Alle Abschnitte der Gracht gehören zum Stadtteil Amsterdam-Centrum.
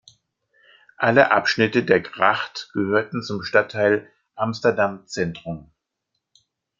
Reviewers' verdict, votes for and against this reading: rejected, 0, 2